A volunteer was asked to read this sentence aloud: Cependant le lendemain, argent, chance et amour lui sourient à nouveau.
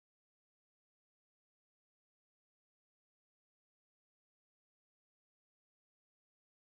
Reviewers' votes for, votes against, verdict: 0, 2, rejected